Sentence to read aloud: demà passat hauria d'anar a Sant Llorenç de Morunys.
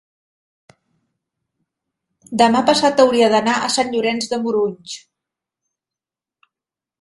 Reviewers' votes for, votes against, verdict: 2, 0, accepted